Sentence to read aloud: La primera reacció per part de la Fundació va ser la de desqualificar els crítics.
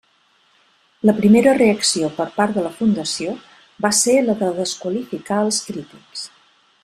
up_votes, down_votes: 3, 0